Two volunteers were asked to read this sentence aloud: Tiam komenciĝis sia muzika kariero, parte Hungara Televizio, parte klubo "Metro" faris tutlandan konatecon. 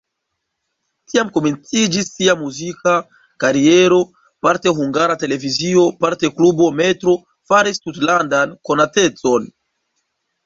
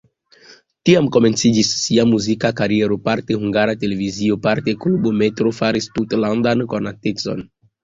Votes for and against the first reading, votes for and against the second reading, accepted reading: 1, 2, 2, 0, second